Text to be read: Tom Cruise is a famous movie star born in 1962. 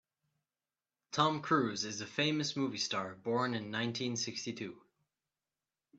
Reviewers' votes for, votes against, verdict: 0, 2, rejected